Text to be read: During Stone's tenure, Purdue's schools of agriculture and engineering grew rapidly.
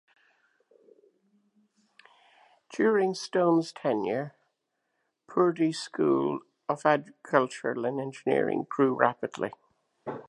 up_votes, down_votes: 2, 0